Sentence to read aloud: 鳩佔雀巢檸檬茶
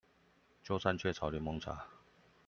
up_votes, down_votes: 2, 0